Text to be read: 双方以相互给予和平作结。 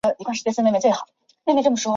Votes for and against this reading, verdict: 0, 3, rejected